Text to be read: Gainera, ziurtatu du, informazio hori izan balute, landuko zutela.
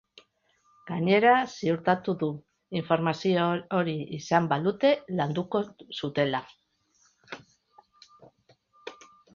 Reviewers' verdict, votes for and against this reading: rejected, 1, 3